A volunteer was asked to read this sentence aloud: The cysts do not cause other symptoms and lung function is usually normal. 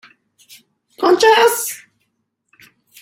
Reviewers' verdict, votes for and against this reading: rejected, 0, 2